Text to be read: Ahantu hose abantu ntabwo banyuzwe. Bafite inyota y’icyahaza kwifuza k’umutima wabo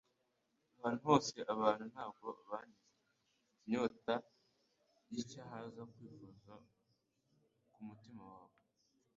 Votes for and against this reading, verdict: 1, 2, rejected